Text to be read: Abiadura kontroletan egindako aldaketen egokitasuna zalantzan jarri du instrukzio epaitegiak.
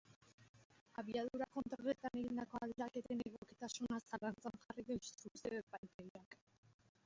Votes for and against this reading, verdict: 1, 2, rejected